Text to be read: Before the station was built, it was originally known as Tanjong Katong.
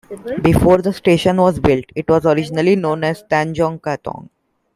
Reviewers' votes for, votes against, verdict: 2, 1, accepted